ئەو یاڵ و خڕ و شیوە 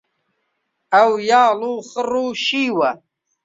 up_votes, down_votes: 2, 0